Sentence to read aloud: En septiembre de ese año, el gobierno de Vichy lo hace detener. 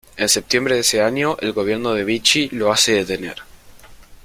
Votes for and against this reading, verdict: 2, 1, accepted